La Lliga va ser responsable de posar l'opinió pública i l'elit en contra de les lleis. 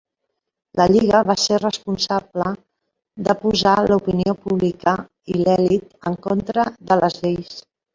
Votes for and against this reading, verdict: 1, 3, rejected